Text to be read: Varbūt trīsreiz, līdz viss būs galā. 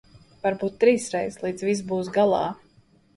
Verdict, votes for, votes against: accepted, 2, 0